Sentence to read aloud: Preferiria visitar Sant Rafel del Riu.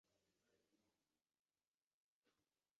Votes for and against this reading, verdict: 0, 2, rejected